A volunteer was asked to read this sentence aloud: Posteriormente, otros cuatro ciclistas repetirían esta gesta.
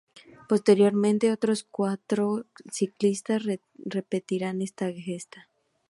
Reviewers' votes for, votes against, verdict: 0, 2, rejected